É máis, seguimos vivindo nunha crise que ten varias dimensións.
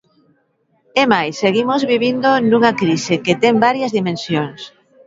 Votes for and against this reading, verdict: 2, 0, accepted